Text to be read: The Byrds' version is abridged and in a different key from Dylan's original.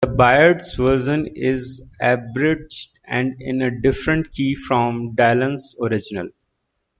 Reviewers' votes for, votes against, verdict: 1, 2, rejected